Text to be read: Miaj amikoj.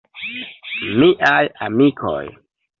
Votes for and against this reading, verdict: 2, 0, accepted